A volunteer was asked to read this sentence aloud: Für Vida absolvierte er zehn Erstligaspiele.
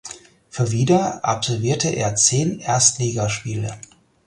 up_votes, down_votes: 4, 0